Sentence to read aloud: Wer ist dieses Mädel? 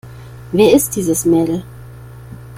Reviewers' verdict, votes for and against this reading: accepted, 2, 0